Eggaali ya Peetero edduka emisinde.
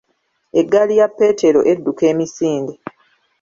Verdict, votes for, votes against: accepted, 2, 0